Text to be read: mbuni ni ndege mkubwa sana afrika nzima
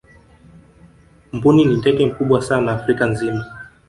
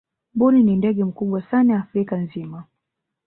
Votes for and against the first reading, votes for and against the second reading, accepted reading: 1, 2, 2, 1, second